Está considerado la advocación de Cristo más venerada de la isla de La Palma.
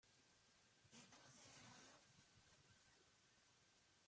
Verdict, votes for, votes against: rejected, 0, 2